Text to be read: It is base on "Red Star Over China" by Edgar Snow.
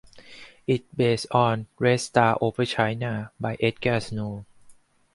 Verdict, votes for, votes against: accepted, 2, 0